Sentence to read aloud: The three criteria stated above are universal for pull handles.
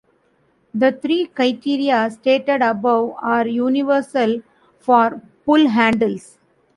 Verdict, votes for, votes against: rejected, 1, 2